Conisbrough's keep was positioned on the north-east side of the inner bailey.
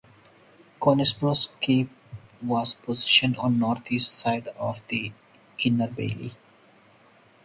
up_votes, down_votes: 2, 2